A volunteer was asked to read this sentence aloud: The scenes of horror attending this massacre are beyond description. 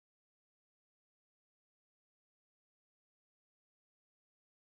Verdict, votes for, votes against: rejected, 0, 2